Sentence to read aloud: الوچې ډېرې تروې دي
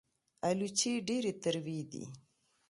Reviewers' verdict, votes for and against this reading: accepted, 2, 0